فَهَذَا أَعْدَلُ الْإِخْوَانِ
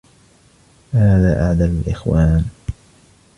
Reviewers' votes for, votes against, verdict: 1, 2, rejected